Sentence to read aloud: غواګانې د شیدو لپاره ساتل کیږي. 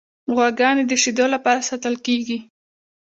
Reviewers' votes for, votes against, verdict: 2, 0, accepted